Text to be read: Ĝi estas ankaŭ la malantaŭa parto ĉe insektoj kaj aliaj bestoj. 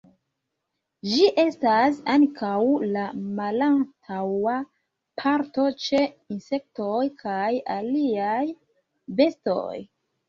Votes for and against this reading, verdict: 2, 1, accepted